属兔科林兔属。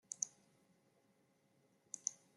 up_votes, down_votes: 0, 2